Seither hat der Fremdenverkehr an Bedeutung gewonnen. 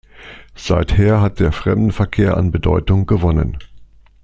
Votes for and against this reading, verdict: 2, 0, accepted